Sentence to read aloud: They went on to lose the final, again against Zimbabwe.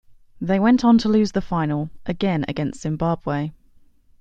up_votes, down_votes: 2, 0